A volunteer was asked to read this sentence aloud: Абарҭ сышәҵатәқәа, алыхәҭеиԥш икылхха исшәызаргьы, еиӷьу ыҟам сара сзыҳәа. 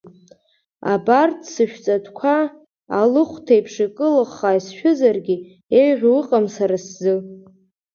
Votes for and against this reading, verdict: 1, 4, rejected